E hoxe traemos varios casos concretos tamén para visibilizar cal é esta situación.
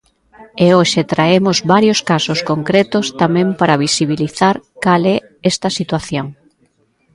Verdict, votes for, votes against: accepted, 2, 1